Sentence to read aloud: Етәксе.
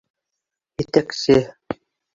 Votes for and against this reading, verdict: 2, 0, accepted